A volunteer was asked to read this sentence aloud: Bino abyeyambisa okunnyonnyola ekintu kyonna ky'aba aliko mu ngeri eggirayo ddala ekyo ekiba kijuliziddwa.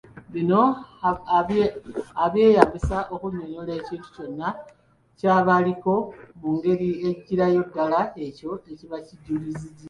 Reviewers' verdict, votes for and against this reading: rejected, 1, 2